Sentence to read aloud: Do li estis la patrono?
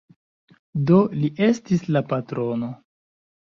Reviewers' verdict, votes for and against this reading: rejected, 1, 2